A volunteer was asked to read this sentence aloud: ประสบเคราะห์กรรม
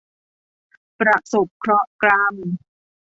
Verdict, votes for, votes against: rejected, 1, 2